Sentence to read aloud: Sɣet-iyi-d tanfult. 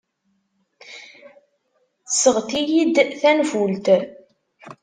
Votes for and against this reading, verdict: 2, 1, accepted